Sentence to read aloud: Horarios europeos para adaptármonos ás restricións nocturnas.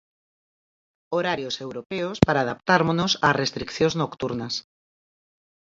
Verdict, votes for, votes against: accepted, 4, 0